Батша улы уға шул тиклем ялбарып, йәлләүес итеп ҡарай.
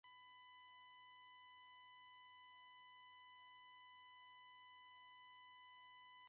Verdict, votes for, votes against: rejected, 1, 2